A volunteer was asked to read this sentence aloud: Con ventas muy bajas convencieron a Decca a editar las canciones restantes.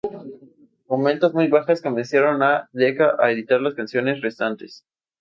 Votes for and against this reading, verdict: 2, 0, accepted